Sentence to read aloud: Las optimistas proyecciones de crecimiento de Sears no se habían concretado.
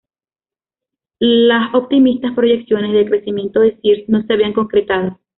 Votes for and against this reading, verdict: 2, 0, accepted